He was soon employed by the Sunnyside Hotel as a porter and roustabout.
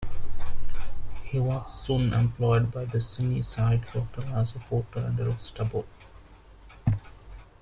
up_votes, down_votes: 0, 2